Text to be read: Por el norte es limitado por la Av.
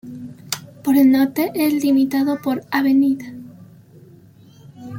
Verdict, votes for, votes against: rejected, 0, 2